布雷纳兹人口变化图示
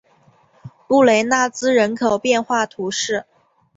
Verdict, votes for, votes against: accepted, 3, 0